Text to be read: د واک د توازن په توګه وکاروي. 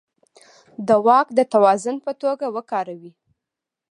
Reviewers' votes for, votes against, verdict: 2, 0, accepted